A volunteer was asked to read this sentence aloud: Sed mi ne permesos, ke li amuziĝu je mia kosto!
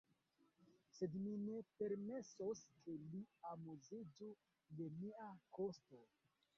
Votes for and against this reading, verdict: 1, 2, rejected